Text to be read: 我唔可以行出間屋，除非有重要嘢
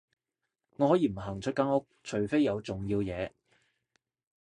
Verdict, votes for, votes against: rejected, 0, 2